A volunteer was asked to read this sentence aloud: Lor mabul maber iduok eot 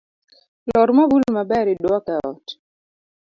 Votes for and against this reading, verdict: 3, 0, accepted